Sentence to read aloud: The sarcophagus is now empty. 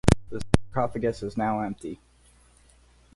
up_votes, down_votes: 2, 4